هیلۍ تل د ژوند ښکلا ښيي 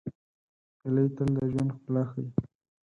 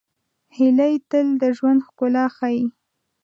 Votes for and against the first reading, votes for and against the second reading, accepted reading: 0, 4, 2, 0, second